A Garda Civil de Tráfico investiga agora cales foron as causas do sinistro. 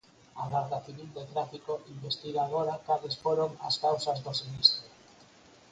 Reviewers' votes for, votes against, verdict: 0, 4, rejected